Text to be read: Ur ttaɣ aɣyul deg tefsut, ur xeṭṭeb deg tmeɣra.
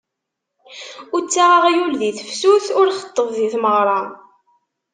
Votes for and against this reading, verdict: 2, 0, accepted